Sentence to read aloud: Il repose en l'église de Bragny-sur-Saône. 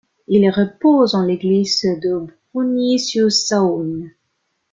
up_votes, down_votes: 0, 2